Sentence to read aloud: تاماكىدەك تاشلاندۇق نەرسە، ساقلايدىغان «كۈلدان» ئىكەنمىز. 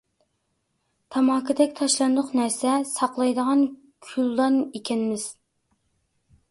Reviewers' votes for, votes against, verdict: 2, 0, accepted